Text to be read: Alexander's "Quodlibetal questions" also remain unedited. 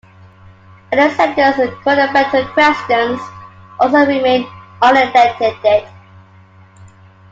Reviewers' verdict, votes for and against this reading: rejected, 1, 2